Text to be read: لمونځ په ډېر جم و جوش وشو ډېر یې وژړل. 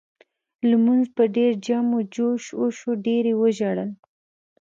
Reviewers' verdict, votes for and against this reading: accepted, 2, 1